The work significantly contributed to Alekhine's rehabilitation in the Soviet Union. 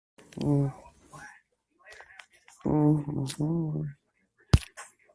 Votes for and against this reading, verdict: 0, 2, rejected